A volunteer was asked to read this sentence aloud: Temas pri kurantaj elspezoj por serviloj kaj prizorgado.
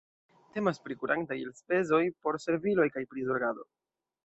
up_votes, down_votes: 2, 0